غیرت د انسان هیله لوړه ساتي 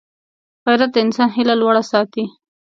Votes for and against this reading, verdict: 2, 0, accepted